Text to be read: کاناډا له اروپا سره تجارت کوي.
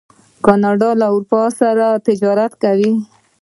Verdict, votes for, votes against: accepted, 2, 1